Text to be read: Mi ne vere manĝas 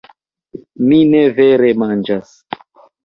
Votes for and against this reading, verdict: 2, 0, accepted